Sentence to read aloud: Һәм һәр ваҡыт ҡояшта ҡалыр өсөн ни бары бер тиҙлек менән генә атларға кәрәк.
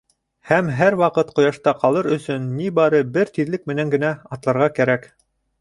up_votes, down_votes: 2, 0